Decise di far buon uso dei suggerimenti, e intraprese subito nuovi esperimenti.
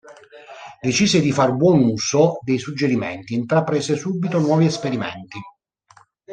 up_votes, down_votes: 1, 2